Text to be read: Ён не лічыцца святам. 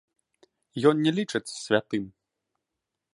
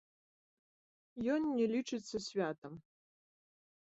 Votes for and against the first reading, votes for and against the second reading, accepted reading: 0, 2, 2, 0, second